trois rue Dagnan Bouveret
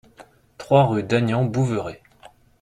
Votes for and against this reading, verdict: 2, 0, accepted